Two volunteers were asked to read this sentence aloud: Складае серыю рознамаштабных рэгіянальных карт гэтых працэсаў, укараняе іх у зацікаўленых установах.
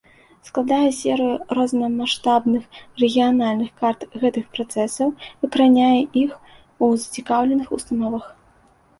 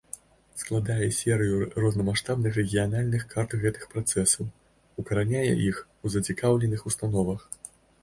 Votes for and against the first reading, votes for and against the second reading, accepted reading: 2, 0, 1, 2, first